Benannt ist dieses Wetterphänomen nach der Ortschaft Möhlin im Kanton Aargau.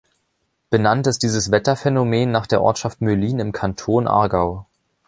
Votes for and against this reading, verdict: 2, 0, accepted